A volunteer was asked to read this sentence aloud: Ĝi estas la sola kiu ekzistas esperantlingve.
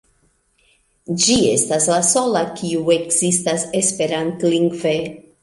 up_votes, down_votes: 1, 2